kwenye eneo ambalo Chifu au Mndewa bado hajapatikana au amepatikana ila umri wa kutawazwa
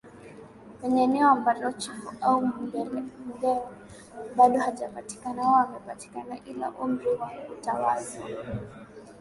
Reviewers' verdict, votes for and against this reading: rejected, 3, 3